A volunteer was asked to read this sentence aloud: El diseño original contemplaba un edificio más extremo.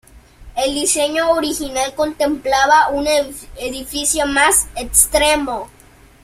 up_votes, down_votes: 2, 1